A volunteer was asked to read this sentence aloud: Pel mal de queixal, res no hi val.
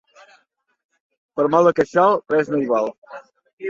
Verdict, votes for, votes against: accepted, 2, 1